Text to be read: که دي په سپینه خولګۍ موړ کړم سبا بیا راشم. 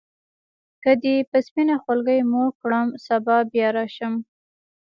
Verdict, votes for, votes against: accepted, 2, 0